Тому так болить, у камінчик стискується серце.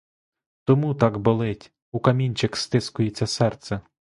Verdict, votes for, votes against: accepted, 2, 0